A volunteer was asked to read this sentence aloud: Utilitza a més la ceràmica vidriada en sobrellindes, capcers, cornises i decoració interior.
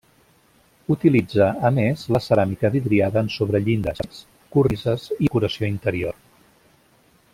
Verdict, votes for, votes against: rejected, 0, 2